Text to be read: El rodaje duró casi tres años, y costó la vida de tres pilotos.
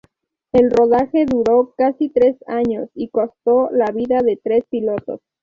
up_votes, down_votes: 2, 0